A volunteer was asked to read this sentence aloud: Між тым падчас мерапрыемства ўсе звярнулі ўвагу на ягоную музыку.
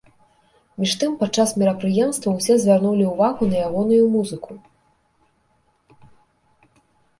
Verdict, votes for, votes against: accepted, 2, 0